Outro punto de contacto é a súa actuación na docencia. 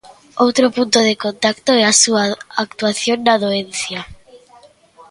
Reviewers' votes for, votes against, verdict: 0, 3, rejected